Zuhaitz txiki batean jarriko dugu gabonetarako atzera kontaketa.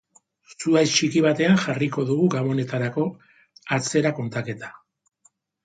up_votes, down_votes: 1, 2